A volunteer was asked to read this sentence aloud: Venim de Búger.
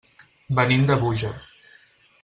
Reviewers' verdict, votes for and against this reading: accepted, 6, 0